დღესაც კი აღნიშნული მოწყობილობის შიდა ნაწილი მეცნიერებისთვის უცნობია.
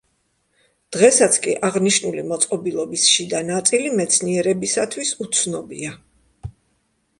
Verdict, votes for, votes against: rejected, 1, 2